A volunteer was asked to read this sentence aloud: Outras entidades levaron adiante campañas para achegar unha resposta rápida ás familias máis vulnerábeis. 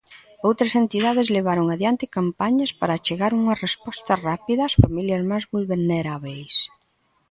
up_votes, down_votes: 2, 0